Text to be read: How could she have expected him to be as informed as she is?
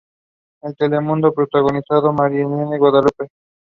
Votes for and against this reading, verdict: 0, 2, rejected